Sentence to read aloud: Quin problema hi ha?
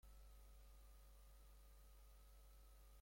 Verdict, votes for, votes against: rejected, 0, 2